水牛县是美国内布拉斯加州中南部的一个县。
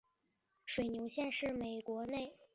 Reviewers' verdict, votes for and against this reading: rejected, 1, 4